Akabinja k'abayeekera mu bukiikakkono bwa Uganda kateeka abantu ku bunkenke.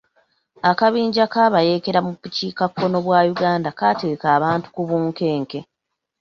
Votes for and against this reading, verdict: 1, 2, rejected